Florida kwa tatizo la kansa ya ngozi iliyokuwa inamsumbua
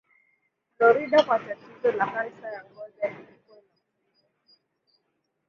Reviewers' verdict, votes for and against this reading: rejected, 0, 2